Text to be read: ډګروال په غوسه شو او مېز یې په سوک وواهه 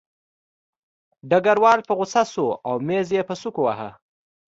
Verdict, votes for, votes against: accepted, 2, 0